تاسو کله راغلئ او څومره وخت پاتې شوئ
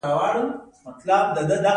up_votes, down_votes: 1, 2